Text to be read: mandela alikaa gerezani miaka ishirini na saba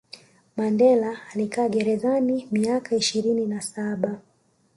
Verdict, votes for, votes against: rejected, 1, 2